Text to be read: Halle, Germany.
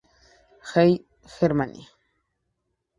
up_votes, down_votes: 0, 4